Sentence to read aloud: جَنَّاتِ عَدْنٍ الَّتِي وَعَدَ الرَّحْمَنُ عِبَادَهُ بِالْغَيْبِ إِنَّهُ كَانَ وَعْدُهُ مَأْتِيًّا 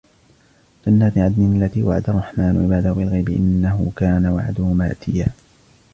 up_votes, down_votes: 2, 1